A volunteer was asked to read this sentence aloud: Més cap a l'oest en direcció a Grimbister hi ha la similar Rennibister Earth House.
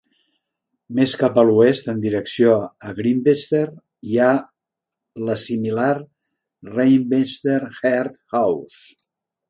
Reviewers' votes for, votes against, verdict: 1, 2, rejected